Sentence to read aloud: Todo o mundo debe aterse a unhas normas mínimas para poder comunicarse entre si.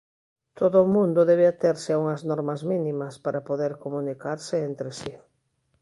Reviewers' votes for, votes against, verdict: 2, 0, accepted